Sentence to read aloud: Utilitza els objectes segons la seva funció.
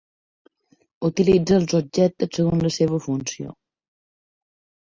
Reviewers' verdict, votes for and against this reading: rejected, 2, 3